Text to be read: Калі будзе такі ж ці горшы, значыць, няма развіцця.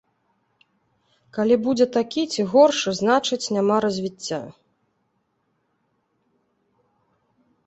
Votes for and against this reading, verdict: 1, 2, rejected